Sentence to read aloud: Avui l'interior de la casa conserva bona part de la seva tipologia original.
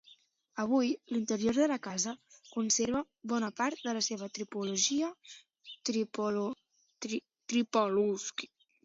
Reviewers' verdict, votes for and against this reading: rejected, 0, 2